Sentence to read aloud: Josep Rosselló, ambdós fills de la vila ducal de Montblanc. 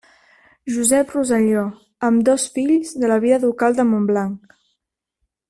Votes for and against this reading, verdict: 1, 2, rejected